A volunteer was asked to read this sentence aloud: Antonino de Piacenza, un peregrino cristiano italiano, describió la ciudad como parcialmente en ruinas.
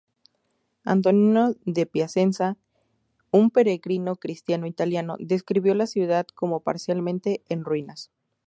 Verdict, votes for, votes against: accepted, 4, 0